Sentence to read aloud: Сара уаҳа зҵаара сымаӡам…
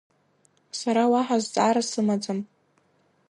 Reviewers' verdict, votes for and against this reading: accepted, 2, 0